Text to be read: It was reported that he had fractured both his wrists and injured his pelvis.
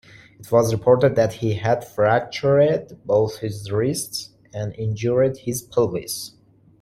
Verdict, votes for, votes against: accepted, 2, 1